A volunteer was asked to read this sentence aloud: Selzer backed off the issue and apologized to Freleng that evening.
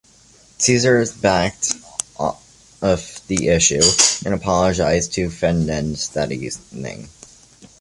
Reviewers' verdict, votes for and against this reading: rejected, 0, 2